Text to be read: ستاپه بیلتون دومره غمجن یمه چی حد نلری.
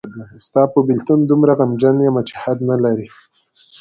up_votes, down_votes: 2, 0